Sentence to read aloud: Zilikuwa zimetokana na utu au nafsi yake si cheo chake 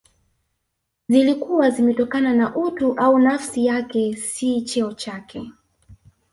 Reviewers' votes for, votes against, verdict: 0, 2, rejected